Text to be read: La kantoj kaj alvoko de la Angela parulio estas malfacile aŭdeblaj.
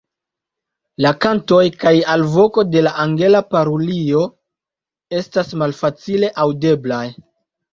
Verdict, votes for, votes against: accepted, 2, 0